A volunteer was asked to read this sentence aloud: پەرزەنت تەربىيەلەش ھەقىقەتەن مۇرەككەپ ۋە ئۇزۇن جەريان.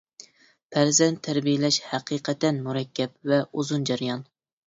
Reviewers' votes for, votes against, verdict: 2, 0, accepted